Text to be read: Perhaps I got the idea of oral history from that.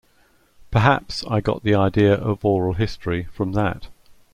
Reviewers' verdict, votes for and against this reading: accepted, 2, 0